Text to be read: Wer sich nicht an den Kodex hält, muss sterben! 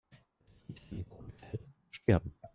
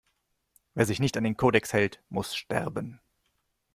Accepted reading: second